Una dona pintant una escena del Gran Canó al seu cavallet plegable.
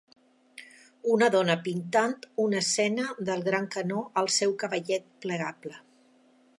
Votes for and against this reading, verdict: 3, 0, accepted